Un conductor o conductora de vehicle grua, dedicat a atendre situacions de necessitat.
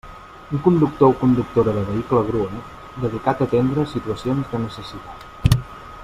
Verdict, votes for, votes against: accepted, 2, 0